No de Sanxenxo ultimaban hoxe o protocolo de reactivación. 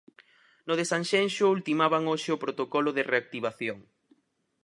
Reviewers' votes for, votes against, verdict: 4, 0, accepted